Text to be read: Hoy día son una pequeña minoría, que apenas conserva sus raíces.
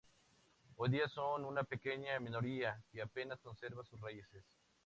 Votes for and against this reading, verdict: 2, 0, accepted